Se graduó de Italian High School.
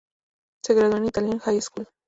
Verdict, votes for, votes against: accepted, 4, 0